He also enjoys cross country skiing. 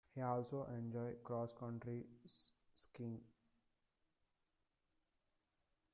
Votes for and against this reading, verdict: 0, 2, rejected